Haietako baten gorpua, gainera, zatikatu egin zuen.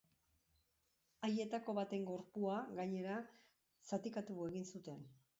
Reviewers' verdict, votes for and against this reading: rejected, 0, 2